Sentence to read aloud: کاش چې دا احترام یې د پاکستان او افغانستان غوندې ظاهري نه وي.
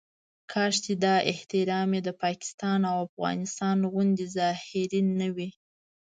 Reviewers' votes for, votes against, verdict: 2, 1, accepted